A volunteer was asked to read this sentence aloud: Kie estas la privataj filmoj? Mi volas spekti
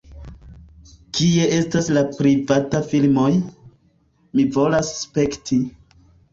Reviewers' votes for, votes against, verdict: 3, 1, accepted